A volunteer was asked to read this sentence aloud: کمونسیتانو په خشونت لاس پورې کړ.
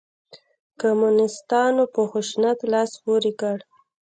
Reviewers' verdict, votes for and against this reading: rejected, 0, 2